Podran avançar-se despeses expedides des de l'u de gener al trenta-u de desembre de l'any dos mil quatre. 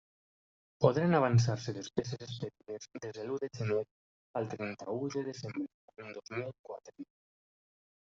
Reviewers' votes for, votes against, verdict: 0, 2, rejected